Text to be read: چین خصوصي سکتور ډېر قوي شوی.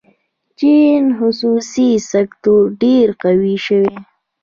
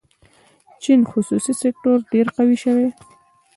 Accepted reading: second